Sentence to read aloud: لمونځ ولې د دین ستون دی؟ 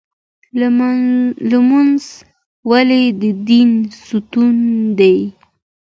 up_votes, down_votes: 2, 0